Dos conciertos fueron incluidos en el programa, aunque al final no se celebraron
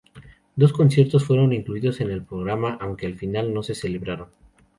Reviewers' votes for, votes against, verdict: 2, 2, rejected